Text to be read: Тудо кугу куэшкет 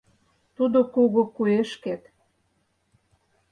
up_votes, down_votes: 4, 0